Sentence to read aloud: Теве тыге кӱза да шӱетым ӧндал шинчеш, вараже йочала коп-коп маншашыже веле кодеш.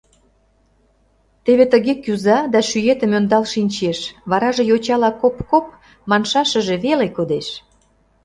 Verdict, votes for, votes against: accepted, 2, 0